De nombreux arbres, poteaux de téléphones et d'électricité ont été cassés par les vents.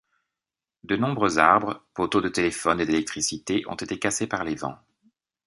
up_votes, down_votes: 2, 0